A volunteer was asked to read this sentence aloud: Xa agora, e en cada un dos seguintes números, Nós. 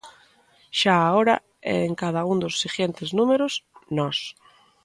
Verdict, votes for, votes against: rejected, 0, 2